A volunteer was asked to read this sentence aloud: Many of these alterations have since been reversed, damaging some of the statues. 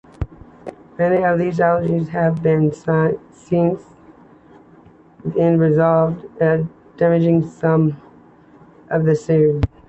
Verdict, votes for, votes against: rejected, 1, 2